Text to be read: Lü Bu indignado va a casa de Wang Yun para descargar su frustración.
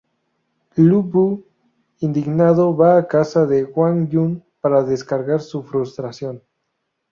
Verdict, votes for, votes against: rejected, 0, 2